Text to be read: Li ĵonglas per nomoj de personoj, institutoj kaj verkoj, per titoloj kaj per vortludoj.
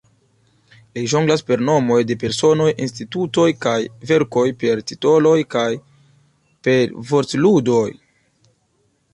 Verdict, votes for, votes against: accepted, 2, 0